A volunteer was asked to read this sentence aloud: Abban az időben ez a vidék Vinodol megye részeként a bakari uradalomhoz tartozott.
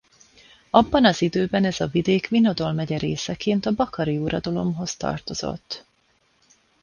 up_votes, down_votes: 2, 0